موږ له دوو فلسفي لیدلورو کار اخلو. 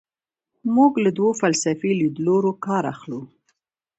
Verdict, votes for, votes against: accepted, 2, 0